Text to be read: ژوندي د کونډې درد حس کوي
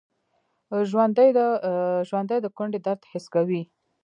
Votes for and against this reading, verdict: 0, 2, rejected